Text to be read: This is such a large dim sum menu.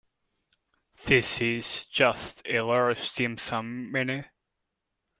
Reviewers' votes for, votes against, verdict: 1, 2, rejected